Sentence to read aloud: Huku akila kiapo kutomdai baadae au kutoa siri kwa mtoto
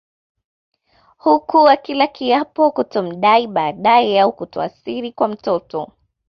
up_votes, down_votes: 2, 0